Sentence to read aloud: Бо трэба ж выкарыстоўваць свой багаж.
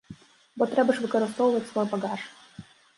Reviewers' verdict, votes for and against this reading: rejected, 1, 2